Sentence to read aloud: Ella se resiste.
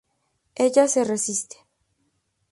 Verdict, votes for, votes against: accepted, 4, 0